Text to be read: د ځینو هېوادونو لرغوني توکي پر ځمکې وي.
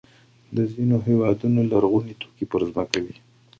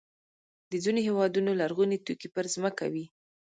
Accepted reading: first